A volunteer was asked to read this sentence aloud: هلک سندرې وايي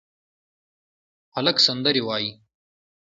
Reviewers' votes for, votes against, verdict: 2, 0, accepted